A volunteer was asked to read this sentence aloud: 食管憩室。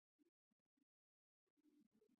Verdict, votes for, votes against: rejected, 0, 2